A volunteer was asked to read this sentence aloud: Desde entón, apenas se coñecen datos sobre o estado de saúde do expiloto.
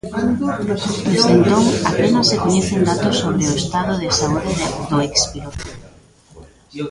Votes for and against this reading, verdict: 0, 3, rejected